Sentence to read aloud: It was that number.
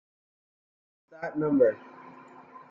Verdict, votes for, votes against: rejected, 0, 2